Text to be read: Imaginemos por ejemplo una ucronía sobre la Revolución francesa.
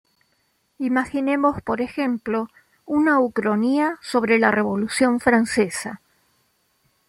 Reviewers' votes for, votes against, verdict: 2, 1, accepted